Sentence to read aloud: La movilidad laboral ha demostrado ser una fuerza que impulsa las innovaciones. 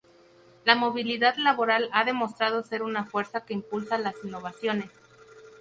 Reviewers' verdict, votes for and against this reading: accepted, 2, 0